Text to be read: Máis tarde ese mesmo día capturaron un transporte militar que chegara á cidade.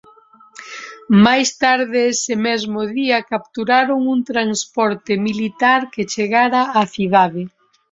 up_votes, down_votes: 2, 0